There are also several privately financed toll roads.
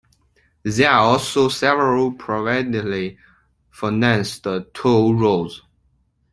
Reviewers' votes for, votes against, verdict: 0, 3, rejected